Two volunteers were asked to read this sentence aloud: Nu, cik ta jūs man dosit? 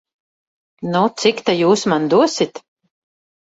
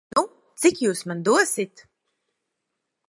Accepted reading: first